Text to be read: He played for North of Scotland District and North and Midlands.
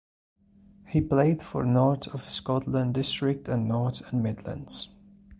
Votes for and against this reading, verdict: 2, 0, accepted